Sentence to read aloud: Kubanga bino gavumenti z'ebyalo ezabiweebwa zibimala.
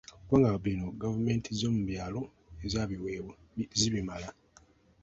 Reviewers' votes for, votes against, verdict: 1, 2, rejected